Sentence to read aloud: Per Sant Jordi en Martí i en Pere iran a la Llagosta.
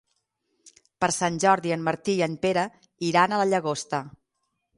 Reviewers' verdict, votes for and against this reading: accepted, 6, 0